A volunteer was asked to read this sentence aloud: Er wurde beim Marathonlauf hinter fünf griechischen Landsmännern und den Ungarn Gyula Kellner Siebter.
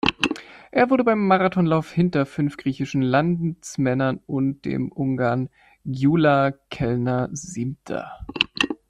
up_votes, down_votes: 1, 2